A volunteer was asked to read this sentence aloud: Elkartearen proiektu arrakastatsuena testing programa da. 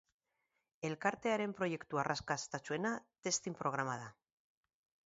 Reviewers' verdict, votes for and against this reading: rejected, 0, 4